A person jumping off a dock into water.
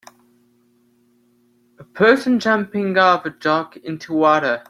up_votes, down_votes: 2, 1